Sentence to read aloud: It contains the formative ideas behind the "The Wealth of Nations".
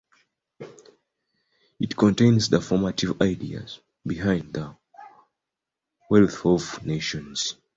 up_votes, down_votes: 2, 0